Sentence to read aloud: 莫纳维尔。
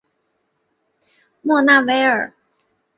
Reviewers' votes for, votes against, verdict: 5, 0, accepted